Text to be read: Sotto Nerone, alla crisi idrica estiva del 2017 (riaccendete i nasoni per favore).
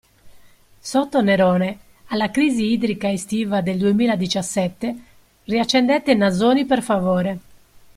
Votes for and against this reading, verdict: 0, 2, rejected